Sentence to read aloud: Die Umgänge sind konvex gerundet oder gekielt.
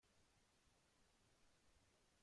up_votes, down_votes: 0, 2